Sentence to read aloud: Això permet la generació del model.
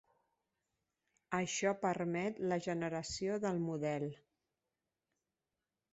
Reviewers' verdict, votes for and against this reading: accepted, 3, 0